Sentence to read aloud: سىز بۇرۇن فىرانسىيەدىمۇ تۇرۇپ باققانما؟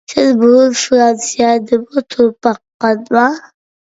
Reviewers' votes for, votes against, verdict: 2, 0, accepted